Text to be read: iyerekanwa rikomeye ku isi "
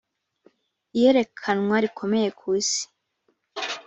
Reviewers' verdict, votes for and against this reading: accepted, 2, 0